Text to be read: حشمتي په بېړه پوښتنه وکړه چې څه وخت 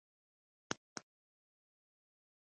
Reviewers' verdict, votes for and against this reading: rejected, 1, 2